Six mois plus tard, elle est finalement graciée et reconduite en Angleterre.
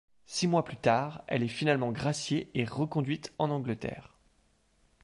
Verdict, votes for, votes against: accepted, 2, 0